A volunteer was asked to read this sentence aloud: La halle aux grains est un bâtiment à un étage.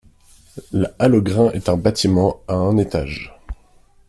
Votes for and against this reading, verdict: 2, 0, accepted